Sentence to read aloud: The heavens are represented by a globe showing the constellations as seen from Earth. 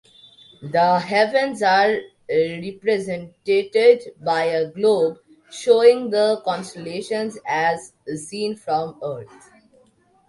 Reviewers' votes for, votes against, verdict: 1, 2, rejected